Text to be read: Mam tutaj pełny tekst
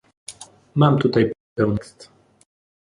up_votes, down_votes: 0, 2